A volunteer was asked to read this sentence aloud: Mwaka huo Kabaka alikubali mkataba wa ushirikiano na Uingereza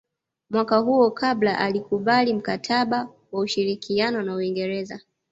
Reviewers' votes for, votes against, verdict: 0, 2, rejected